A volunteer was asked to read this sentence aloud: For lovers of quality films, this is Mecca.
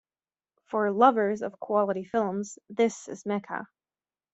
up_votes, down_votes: 2, 0